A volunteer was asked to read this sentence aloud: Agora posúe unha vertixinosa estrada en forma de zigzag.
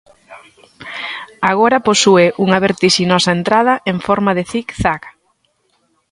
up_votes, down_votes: 1, 2